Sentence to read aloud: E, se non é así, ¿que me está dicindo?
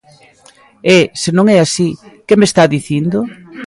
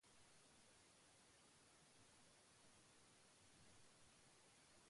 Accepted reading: first